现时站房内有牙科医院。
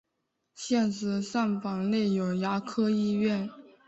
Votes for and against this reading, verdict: 2, 0, accepted